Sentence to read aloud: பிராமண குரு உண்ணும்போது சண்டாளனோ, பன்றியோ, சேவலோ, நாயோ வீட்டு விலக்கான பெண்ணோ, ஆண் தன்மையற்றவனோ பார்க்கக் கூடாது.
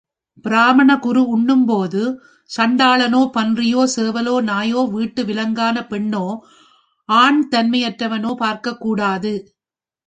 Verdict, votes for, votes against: rejected, 0, 2